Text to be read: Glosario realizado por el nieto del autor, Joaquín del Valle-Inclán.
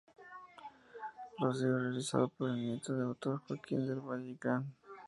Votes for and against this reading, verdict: 2, 0, accepted